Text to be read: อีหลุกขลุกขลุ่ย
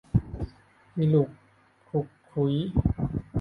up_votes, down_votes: 1, 2